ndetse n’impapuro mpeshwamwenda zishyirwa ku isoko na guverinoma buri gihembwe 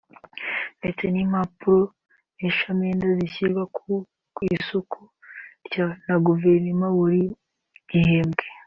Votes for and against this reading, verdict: 2, 4, rejected